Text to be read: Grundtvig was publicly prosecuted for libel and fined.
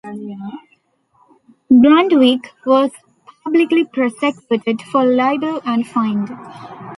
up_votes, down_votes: 2, 0